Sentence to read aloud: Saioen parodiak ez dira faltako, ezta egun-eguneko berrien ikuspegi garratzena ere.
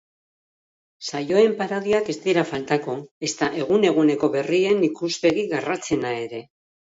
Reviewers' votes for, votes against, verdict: 2, 0, accepted